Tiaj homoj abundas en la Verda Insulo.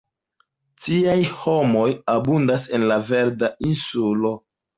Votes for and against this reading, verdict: 2, 0, accepted